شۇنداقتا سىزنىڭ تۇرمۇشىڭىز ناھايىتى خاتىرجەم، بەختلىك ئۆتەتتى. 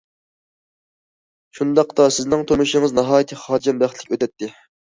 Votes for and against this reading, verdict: 1, 2, rejected